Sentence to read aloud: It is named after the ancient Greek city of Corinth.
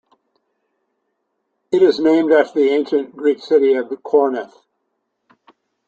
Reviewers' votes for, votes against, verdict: 1, 2, rejected